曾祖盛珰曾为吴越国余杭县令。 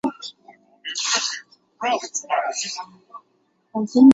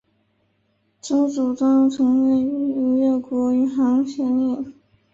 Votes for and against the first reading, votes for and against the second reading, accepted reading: 0, 2, 4, 1, second